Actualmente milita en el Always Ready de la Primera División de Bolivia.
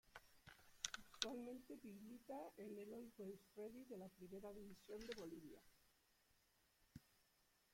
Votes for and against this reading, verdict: 0, 2, rejected